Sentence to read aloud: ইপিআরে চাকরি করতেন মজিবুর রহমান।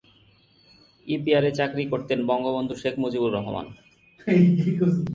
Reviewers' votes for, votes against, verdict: 0, 2, rejected